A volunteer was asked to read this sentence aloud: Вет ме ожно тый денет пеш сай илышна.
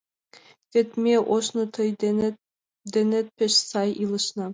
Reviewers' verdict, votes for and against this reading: accepted, 2, 1